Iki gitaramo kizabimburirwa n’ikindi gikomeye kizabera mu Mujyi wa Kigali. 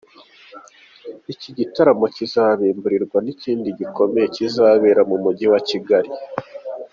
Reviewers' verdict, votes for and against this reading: accepted, 2, 0